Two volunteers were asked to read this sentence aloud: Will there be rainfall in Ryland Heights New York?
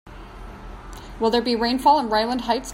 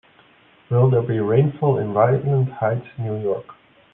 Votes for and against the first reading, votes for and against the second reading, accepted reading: 1, 2, 2, 0, second